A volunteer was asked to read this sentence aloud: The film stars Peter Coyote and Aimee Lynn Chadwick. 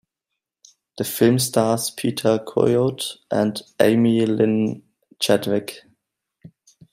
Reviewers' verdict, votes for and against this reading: accepted, 2, 0